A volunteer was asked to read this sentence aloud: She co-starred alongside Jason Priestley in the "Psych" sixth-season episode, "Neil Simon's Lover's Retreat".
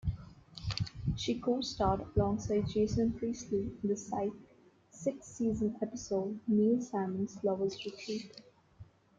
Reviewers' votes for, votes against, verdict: 2, 1, accepted